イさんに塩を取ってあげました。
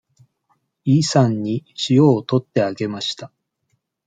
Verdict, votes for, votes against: accepted, 2, 0